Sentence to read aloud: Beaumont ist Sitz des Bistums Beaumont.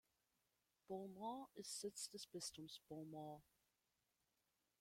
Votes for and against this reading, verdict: 1, 2, rejected